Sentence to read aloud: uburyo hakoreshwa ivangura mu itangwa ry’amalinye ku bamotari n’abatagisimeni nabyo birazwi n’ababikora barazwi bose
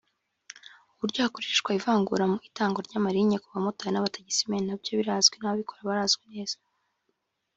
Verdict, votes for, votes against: rejected, 0, 2